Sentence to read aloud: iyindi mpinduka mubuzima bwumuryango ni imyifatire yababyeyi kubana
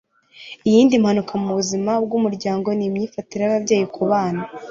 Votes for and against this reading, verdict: 1, 2, rejected